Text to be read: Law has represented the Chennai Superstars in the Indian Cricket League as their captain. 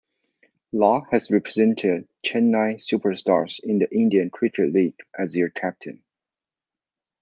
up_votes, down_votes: 1, 2